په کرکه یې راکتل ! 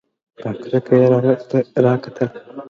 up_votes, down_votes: 2, 0